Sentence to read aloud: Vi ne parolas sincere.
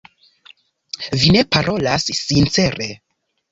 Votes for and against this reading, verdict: 2, 0, accepted